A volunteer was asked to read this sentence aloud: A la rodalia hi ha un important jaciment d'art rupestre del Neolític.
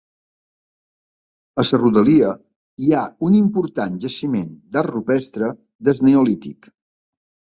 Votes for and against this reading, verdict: 1, 2, rejected